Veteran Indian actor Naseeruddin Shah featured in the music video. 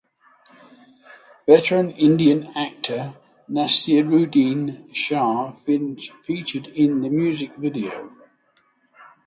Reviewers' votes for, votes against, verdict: 3, 3, rejected